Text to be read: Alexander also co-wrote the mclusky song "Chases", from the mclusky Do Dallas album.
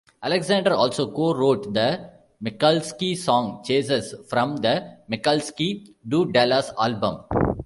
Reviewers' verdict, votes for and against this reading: rejected, 1, 2